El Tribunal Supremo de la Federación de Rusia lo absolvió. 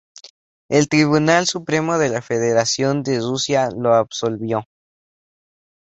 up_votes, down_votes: 2, 0